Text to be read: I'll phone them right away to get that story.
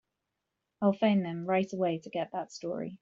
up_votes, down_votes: 3, 0